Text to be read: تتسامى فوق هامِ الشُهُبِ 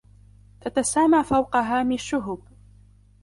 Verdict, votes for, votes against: accepted, 2, 0